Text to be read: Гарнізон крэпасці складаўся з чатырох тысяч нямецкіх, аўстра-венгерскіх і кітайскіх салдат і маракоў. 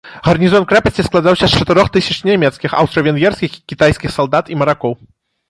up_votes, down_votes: 2, 0